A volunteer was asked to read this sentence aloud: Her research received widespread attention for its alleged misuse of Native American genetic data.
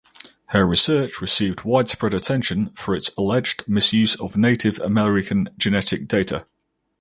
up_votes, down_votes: 4, 0